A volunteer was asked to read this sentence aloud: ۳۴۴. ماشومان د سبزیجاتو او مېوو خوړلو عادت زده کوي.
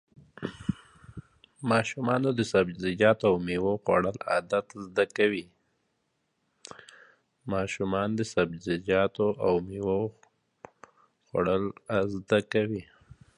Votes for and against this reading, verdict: 0, 2, rejected